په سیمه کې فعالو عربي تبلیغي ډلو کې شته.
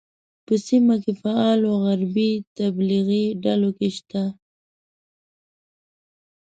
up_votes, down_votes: 1, 2